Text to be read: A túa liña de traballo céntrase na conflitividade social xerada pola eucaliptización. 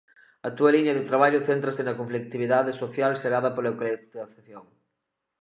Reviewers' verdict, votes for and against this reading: rejected, 0, 2